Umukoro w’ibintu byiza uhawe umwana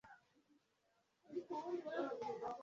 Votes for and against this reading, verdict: 1, 2, rejected